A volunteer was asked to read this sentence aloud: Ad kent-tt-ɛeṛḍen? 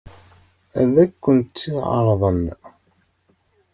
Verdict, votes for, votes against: rejected, 0, 2